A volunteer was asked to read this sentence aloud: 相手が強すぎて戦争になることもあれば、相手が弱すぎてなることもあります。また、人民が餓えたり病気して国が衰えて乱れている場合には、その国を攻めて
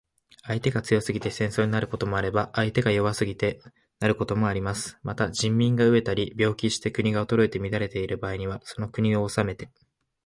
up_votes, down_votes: 7, 2